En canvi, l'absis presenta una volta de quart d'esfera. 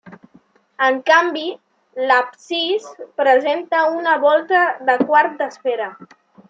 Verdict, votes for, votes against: accepted, 3, 1